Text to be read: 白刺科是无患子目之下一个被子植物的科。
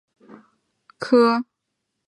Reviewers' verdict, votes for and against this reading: rejected, 0, 2